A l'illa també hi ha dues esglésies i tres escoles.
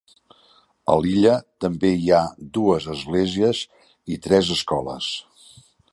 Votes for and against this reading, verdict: 3, 0, accepted